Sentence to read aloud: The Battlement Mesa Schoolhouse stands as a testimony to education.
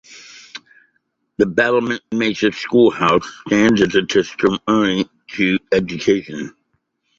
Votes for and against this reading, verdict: 0, 2, rejected